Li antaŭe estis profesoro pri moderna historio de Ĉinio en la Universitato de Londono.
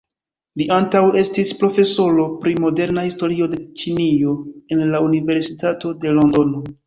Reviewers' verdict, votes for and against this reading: rejected, 0, 2